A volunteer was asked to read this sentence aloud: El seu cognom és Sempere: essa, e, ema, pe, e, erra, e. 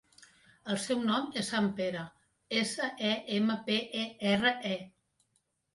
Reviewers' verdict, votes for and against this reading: rejected, 1, 2